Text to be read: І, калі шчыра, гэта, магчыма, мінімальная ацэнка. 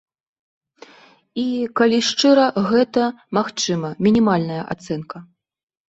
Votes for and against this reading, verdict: 2, 0, accepted